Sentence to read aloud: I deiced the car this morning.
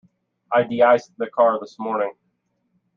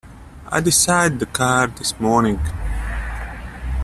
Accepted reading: first